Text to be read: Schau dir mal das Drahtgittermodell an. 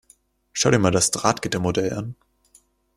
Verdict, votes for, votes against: accepted, 2, 0